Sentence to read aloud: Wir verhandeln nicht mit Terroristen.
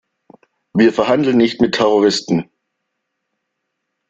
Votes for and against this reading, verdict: 2, 0, accepted